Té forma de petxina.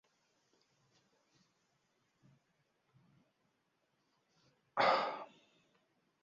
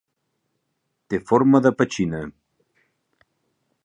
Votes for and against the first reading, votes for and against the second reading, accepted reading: 1, 2, 2, 0, second